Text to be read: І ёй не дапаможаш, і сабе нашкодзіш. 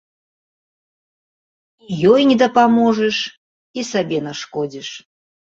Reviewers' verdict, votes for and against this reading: rejected, 1, 2